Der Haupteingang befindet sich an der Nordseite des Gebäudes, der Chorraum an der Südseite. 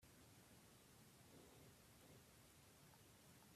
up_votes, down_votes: 0, 2